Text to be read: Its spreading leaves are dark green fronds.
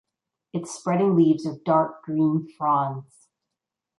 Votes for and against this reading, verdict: 0, 2, rejected